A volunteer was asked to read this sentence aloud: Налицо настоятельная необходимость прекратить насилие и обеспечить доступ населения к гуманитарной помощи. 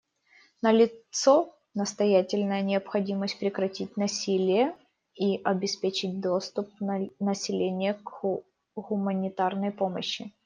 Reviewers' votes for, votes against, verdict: 1, 2, rejected